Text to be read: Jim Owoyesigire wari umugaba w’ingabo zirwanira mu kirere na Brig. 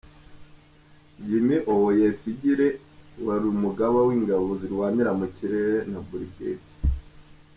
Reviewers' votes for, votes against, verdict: 3, 0, accepted